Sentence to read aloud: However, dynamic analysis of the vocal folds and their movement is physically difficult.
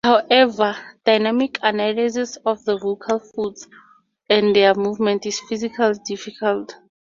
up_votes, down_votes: 0, 2